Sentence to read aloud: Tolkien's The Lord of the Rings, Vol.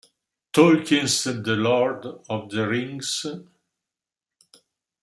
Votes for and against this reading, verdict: 0, 2, rejected